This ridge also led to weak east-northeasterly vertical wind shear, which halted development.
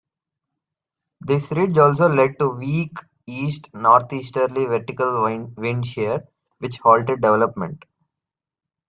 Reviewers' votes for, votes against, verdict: 1, 2, rejected